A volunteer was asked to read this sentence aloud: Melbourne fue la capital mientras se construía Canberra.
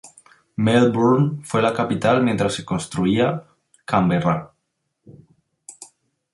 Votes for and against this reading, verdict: 2, 0, accepted